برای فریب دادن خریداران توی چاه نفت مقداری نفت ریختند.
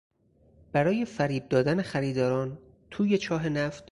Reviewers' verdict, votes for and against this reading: rejected, 0, 4